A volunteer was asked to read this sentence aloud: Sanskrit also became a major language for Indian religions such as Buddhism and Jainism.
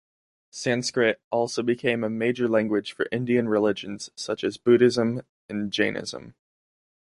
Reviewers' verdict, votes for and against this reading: accepted, 2, 0